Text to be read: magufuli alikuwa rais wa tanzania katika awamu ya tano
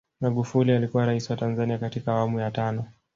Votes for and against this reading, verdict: 1, 2, rejected